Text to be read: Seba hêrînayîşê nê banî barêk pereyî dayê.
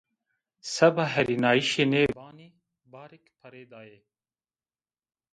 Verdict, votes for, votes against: accepted, 2, 0